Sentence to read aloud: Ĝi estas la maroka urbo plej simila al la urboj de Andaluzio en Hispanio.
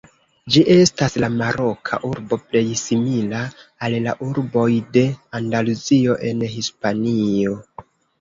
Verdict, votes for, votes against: accepted, 2, 0